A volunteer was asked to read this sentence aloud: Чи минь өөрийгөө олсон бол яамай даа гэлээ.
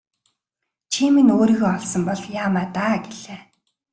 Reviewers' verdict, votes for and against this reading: accepted, 2, 1